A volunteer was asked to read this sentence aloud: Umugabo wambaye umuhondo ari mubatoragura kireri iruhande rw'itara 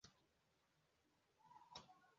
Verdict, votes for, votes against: rejected, 0, 2